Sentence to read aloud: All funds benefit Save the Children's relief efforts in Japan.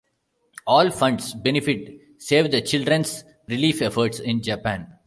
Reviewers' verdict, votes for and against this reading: accepted, 2, 0